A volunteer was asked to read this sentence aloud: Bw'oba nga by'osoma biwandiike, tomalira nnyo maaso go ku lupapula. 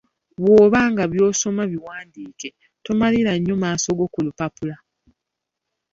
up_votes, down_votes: 2, 1